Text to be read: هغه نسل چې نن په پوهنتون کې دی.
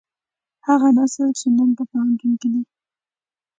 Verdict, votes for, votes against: accepted, 2, 0